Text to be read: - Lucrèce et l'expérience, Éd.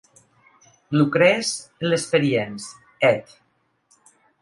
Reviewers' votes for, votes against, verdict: 3, 1, accepted